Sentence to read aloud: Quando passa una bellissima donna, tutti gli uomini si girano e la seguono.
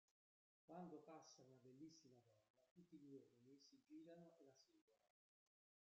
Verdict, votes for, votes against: rejected, 0, 2